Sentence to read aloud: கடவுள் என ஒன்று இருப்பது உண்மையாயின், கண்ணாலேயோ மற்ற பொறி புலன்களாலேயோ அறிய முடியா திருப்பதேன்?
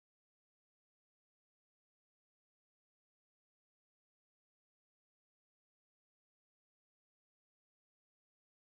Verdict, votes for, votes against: rejected, 1, 2